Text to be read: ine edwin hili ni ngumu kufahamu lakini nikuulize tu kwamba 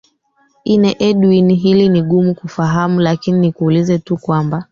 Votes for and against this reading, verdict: 0, 2, rejected